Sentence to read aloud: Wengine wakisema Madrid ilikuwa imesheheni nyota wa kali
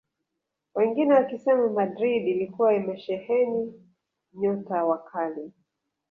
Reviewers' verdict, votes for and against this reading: rejected, 1, 2